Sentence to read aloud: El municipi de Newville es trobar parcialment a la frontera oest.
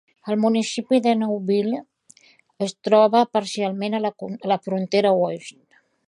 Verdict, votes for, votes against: rejected, 0, 2